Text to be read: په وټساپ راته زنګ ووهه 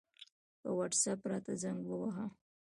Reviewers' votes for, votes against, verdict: 2, 1, accepted